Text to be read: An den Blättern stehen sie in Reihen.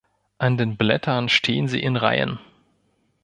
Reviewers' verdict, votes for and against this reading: accepted, 2, 0